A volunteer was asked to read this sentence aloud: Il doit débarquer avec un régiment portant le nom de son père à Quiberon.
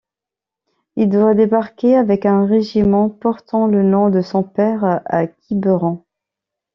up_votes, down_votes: 2, 0